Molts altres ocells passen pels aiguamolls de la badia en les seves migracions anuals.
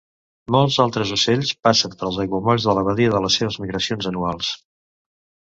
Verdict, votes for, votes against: rejected, 0, 2